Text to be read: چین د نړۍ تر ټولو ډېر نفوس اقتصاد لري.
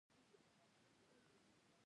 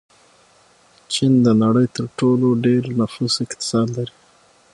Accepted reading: second